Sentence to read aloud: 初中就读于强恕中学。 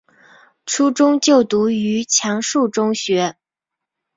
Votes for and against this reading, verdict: 2, 0, accepted